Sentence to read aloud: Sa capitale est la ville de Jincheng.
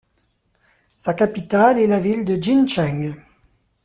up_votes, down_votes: 2, 0